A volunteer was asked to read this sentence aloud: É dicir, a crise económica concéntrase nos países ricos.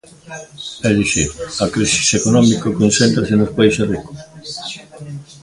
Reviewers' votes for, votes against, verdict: 1, 2, rejected